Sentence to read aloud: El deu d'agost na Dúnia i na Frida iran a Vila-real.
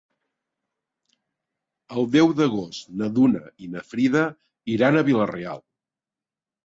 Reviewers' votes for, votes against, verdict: 1, 2, rejected